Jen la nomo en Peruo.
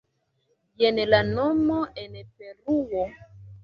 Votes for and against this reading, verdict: 0, 2, rejected